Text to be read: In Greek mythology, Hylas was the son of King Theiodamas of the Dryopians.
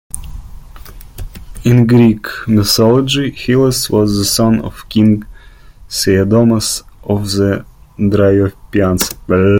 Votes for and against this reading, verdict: 0, 2, rejected